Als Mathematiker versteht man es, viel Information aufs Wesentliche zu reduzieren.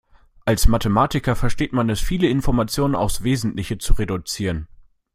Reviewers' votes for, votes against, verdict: 0, 2, rejected